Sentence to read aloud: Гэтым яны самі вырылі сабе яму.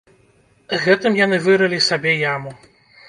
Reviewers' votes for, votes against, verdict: 1, 2, rejected